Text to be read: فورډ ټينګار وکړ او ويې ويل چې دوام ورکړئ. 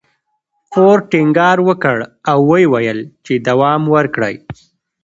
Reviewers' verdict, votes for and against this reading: accepted, 2, 0